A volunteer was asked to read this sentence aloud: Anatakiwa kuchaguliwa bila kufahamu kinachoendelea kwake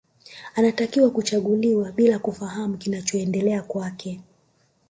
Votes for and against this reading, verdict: 1, 2, rejected